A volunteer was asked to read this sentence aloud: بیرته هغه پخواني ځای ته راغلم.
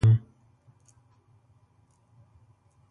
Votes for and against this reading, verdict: 0, 2, rejected